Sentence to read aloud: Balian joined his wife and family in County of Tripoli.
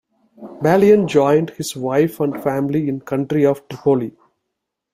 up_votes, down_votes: 0, 2